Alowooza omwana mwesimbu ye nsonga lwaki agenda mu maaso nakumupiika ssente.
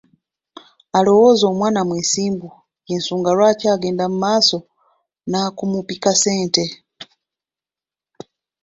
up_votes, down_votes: 1, 2